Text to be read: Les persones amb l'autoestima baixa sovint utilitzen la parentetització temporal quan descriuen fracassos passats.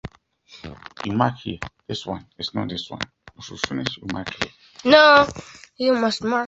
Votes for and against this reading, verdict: 0, 2, rejected